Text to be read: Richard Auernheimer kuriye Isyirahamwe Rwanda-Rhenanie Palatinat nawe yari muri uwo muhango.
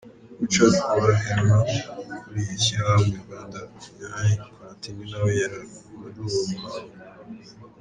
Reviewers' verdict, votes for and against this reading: rejected, 0, 2